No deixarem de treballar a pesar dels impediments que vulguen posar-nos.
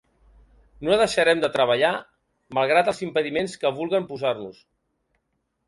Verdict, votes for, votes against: rejected, 0, 2